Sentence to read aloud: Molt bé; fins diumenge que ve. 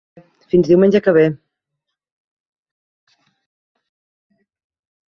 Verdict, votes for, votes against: rejected, 0, 2